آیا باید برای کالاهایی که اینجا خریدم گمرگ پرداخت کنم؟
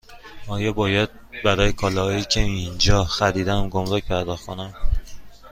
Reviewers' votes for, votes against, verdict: 2, 0, accepted